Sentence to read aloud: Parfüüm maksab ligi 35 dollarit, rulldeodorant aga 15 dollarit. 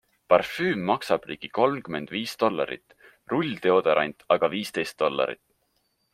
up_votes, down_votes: 0, 2